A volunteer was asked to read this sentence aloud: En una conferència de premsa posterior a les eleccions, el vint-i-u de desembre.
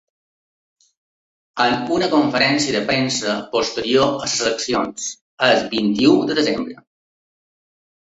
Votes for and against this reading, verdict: 2, 1, accepted